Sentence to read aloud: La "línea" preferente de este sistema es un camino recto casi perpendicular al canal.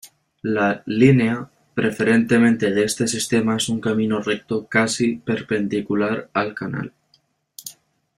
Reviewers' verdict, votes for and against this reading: rejected, 1, 2